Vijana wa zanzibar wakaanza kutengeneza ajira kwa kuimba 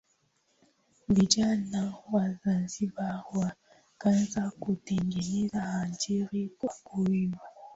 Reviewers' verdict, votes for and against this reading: accepted, 2, 1